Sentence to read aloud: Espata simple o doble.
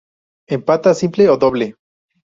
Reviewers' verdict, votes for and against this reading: rejected, 0, 2